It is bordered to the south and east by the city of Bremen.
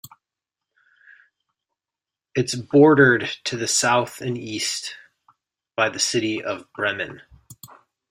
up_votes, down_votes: 2, 0